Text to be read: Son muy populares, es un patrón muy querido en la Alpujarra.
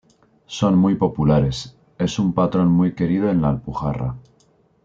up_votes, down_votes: 2, 0